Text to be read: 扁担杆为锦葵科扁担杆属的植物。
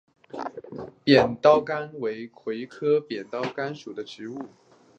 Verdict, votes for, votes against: rejected, 1, 2